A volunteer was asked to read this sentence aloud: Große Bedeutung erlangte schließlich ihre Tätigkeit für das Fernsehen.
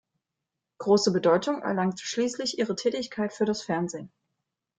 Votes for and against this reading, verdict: 2, 0, accepted